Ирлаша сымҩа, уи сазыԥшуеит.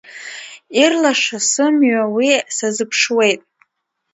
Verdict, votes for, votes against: accepted, 2, 1